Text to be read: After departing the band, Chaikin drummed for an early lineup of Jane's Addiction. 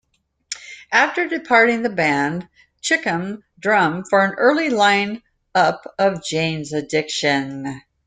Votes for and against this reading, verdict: 0, 2, rejected